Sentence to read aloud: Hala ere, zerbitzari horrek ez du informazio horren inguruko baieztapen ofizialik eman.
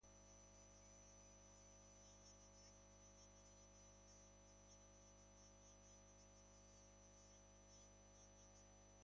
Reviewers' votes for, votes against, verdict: 0, 2, rejected